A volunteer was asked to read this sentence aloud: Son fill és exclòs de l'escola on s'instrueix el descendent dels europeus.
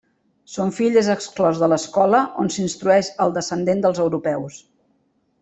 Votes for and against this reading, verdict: 2, 0, accepted